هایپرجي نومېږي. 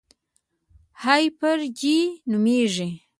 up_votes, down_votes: 1, 2